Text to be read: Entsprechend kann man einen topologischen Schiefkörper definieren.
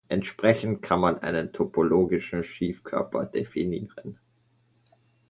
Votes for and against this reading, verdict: 2, 0, accepted